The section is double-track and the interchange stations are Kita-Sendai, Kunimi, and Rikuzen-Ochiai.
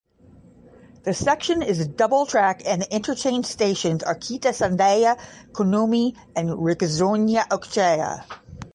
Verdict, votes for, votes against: rejected, 0, 10